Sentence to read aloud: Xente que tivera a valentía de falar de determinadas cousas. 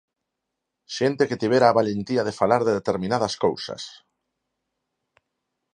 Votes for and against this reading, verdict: 4, 0, accepted